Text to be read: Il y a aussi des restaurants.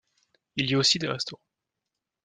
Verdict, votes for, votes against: rejected, 0, 2